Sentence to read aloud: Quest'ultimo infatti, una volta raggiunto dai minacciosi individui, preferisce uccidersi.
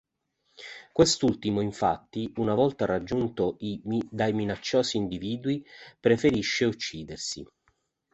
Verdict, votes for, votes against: rejected, 0, 2